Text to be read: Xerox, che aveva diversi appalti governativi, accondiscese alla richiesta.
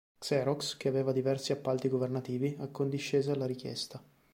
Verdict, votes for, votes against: accepted, 2, 0